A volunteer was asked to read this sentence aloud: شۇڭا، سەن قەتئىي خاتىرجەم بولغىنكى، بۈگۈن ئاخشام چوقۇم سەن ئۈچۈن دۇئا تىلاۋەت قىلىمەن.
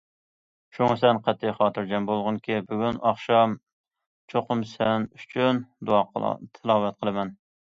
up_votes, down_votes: 1, 2